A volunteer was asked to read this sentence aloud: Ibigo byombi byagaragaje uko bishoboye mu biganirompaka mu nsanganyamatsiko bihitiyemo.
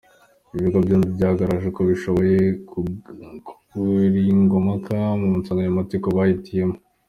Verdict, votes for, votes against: rejected, 1, 2